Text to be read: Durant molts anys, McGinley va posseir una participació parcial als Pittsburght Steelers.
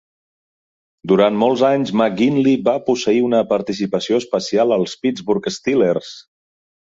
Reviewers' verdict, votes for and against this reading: rejected, 0, 2